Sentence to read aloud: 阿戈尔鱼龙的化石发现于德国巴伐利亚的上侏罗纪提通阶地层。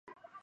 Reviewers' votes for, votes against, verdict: 2, 1, accepted